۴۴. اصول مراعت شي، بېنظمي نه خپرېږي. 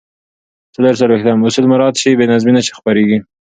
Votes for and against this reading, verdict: 0, 2, rejected